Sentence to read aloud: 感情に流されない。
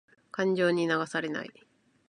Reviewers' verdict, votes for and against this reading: accepted, 2, 0